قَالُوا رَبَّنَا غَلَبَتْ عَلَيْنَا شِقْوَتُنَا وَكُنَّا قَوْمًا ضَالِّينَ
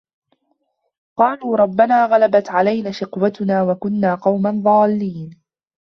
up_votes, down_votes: 0, 2